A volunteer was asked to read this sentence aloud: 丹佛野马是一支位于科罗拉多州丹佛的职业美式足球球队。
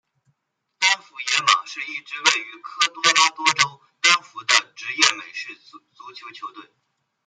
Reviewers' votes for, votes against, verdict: 1, 2, rejected